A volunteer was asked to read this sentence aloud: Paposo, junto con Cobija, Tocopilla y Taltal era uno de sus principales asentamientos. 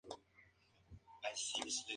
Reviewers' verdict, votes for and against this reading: rejected, 0, 4